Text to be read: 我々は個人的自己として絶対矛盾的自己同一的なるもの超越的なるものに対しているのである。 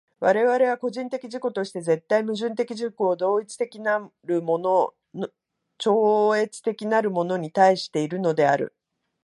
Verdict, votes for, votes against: rejected, 0, 2